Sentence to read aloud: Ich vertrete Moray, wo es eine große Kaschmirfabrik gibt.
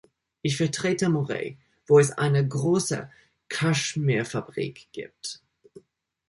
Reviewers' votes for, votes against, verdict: 2, 0, accepted